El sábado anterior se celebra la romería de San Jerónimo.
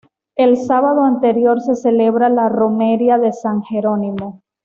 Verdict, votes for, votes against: accepted, 2, 0